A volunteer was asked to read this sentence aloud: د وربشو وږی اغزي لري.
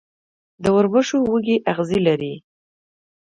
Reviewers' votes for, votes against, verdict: 2, 0, accepted